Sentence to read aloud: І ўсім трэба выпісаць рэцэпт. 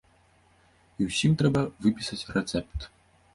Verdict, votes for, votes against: accepted, 2, 0